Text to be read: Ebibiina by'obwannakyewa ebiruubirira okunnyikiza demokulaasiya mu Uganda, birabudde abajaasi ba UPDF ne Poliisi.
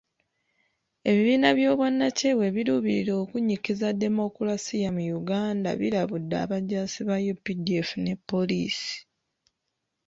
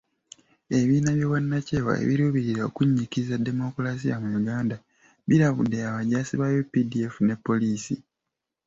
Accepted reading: second